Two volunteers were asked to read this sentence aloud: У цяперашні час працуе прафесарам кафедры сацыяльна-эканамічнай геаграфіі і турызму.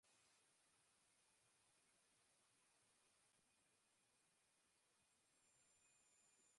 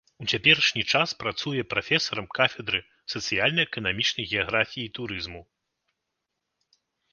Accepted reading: second